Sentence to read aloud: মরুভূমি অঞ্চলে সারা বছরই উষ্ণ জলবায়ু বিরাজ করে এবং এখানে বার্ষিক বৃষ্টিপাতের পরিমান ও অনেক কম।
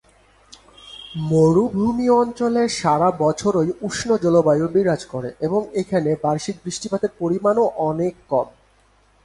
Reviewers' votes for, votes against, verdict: 3, 0, accepted